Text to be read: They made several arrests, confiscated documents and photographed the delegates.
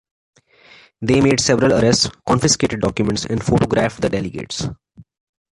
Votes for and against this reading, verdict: 2, 1, accepted